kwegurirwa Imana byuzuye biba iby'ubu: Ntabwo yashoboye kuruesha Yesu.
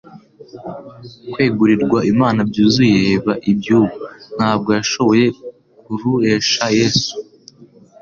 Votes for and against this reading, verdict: 2, 0, accepted